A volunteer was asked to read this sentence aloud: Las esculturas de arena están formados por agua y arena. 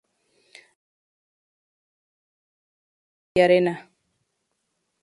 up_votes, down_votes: 0, 4